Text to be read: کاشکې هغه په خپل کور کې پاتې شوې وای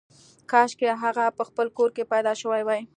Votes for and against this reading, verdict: 2, 1, accepted